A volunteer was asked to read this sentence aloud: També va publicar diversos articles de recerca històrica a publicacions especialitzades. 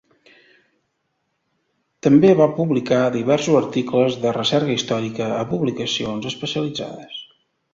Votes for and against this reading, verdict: 2, 0, accepted